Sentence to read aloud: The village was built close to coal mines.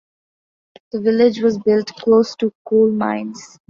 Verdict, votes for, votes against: accepted, 2, 0